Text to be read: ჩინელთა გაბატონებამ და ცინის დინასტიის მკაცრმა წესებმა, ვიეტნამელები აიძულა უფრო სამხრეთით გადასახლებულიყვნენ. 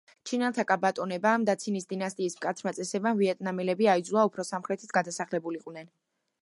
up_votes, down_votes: 2, 0